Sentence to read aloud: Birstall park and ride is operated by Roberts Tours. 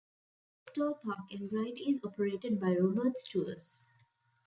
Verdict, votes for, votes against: rejected, 0, 2